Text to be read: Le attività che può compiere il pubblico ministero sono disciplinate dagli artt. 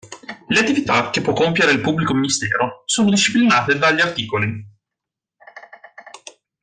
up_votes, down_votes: 2, 0